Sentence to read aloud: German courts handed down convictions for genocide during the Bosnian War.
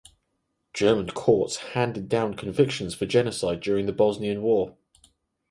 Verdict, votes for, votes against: accepted, 4, 0